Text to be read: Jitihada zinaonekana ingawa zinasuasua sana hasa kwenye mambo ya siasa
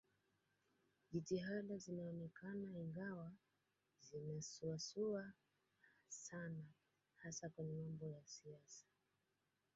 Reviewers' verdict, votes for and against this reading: accepted, 2, 1